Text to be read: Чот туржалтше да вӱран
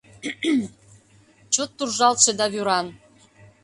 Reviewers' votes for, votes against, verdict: 2, 1, accepted